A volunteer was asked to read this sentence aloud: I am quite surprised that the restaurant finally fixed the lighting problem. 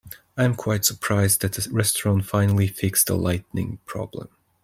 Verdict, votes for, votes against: accepted, 2, 1